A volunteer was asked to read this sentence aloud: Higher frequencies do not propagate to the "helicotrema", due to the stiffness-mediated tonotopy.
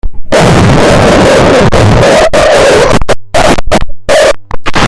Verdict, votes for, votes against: rejected, 0, 2